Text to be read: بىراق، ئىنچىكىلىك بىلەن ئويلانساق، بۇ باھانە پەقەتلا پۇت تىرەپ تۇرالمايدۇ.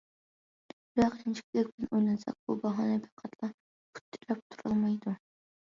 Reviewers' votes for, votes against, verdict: 1, 2, rejected